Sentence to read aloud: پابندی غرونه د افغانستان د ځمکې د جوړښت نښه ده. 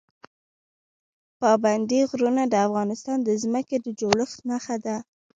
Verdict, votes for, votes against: rejected, 0, 2